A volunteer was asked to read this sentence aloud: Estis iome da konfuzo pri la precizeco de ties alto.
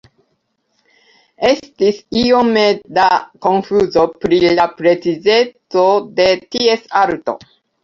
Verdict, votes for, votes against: accepted, 2, 0